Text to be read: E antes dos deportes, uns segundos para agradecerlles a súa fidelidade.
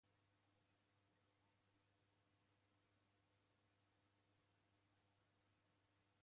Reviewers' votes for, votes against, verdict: 0, 2, rejected